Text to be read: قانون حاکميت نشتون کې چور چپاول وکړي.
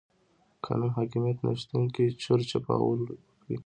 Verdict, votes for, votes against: accepted, 2, 1